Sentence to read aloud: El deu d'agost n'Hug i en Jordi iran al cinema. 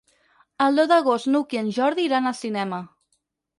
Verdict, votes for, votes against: accepted, 4, 0